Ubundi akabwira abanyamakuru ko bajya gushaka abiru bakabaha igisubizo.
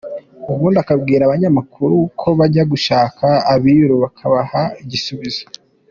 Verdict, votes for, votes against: accepted, 2, 0